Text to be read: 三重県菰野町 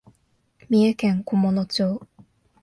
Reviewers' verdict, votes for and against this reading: accepted, 2, 0